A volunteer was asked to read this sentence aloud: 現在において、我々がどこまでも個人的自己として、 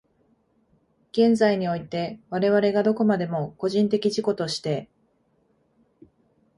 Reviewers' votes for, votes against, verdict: 2, 0, accepted